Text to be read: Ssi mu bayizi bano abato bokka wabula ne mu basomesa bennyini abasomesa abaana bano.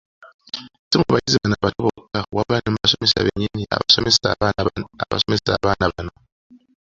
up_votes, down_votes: 0, 2